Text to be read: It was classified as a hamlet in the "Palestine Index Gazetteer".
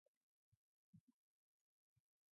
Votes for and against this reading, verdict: 0, 2, rejected